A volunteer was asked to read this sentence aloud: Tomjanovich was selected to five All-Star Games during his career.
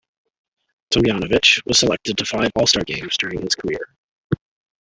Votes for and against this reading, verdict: 2, 0, accepted